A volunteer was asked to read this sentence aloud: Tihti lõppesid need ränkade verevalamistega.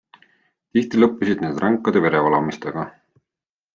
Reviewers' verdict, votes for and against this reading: accepted, 3, 0